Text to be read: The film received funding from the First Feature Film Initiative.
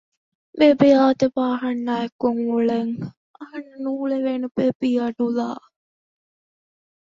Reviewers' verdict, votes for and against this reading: rejected, 0, 2